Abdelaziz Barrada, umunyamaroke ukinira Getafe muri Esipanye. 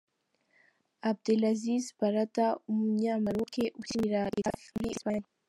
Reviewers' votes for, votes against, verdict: 2, 1, accepted